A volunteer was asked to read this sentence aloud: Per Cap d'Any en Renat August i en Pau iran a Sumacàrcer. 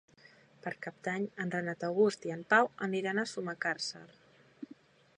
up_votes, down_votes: 0, 2